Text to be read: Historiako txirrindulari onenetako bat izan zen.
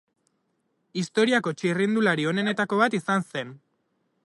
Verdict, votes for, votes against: accepted, 2, 0